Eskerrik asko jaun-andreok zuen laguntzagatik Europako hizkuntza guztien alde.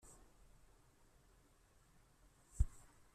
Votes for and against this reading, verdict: 0, 2, rejected